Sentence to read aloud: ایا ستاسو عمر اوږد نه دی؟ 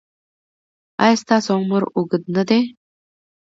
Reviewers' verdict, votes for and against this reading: accepted, 2, 0